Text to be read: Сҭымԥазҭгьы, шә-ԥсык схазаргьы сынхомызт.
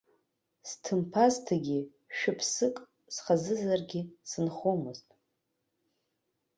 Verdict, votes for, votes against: rejected, 1, 2